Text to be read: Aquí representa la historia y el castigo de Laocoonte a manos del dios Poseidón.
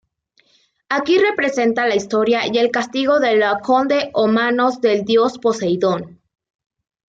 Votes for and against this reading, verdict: 2, 1, accepted